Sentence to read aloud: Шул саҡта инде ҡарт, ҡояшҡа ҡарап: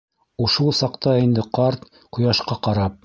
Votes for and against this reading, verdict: 0, 2, rejected